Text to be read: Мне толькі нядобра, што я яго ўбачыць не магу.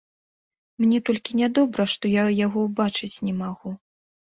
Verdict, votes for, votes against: accepted, 2, 0